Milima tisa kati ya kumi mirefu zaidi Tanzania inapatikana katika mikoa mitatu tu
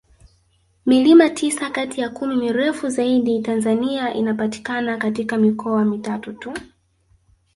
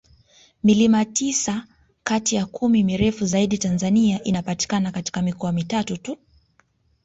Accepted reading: second